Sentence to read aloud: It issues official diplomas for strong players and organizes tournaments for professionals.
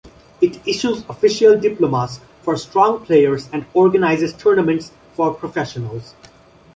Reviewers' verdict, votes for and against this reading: accepted, 2, 0